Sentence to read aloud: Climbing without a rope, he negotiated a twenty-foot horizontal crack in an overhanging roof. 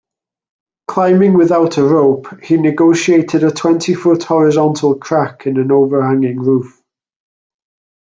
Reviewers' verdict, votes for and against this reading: accepted, 3, 0